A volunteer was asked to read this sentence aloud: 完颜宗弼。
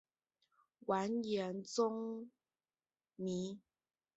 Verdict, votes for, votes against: rejected, 0, 3